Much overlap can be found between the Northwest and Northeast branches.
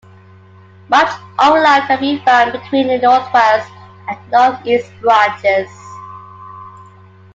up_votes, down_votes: 1, 3